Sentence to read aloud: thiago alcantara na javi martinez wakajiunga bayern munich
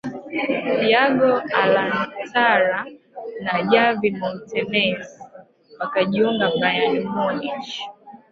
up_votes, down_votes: 1, 2